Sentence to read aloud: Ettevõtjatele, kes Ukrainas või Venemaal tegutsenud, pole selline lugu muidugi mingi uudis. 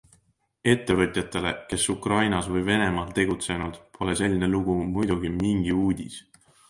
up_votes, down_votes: 2, 0